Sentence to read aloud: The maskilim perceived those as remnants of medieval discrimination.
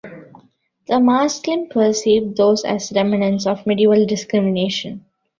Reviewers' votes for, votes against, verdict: 1, 2, rejected